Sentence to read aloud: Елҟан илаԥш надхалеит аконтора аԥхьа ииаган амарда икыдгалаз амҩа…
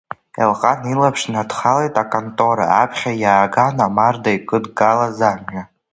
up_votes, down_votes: 2, 1